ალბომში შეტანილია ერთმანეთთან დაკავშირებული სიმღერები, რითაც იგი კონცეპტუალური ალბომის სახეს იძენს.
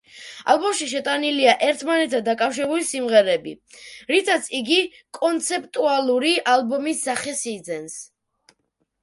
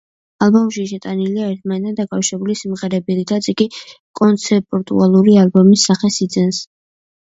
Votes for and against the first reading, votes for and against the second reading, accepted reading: 1, 2, 2, 0, second